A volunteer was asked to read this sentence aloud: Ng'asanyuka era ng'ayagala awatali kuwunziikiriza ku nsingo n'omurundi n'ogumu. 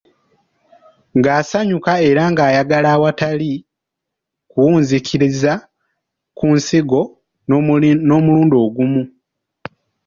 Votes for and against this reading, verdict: 1, 3, rejected